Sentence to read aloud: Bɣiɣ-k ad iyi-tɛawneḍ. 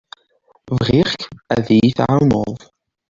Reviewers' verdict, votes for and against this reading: accepted, 2, 0